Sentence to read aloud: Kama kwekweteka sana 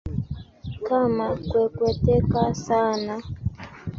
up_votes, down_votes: 2, 0